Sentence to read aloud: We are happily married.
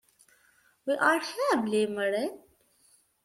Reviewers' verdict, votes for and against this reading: rejected, 1, 2